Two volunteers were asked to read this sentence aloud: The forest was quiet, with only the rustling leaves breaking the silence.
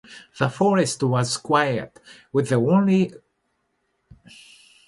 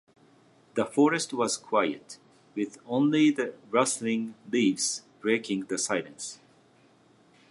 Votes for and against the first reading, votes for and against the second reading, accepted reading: 1, 2, 2, 0, second